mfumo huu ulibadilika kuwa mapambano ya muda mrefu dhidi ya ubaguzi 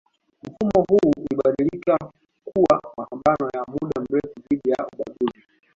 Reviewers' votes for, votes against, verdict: 0, 2, rejected